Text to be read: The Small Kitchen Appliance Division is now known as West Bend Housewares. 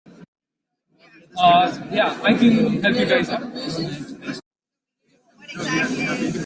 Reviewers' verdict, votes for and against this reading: rejected, 0, 2